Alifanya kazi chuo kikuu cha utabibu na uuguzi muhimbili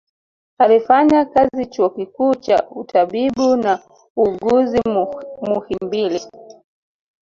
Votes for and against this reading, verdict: 1, 2, rejected